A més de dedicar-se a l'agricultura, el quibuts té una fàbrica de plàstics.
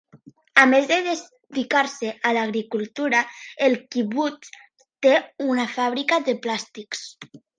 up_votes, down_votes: 1, 2